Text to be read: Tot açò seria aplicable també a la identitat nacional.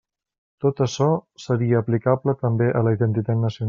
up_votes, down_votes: 0, 2